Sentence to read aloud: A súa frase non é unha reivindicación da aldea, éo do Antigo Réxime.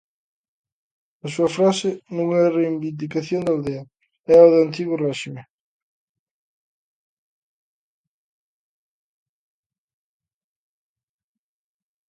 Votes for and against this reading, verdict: 0, 2, rejected